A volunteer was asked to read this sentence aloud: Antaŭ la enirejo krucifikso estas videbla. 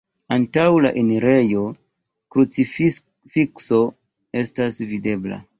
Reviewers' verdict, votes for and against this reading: rejected, 0, 2